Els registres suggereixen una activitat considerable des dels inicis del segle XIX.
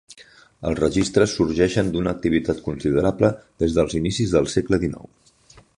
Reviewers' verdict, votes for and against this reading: rejected, 0, 4